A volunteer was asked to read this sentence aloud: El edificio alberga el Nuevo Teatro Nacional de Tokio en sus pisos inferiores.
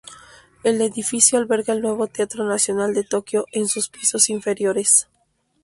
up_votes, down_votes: 2, 0